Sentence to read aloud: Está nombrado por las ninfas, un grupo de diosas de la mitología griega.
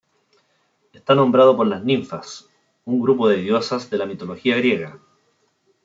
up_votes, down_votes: 2, 0